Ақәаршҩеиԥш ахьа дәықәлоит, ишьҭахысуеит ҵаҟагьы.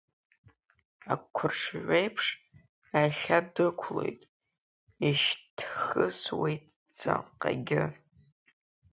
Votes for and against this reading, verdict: 1, 3, rejected